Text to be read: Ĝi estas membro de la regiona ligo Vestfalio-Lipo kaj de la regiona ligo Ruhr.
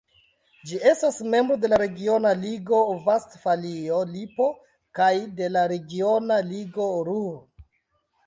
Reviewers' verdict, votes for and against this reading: rejected, 0, 2